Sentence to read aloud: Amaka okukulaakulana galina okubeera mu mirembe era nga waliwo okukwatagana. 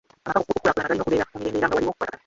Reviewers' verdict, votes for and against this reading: rejected, 0, 2